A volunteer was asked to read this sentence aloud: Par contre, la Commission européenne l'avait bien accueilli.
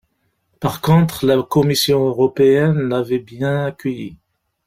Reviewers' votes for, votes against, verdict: 2, 0, accepted